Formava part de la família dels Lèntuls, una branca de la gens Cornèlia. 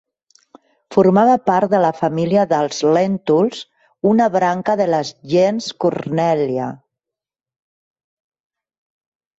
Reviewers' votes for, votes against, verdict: 1, 2, rejected